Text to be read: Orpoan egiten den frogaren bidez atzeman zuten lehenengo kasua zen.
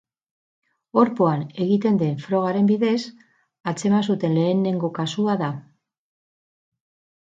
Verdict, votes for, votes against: rejected, 2, 4